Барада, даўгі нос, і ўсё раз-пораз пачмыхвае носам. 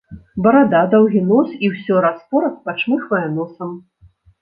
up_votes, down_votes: 2, 0